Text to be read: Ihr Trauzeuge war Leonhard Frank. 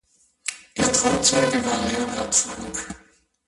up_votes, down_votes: 0, 2